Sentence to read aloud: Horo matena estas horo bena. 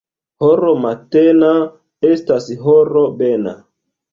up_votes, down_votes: 2, 0